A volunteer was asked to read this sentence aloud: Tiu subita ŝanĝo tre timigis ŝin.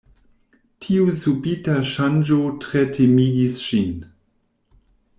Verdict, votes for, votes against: accepted, 2, 0